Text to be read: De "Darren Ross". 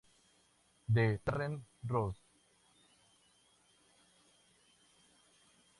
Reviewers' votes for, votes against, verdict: 0, 2, rejected